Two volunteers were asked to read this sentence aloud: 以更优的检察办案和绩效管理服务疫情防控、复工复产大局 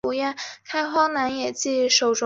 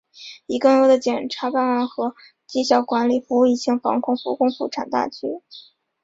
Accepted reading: second